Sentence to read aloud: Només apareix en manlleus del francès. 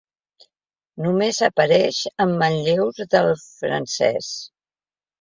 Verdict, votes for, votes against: accepted, 2, 0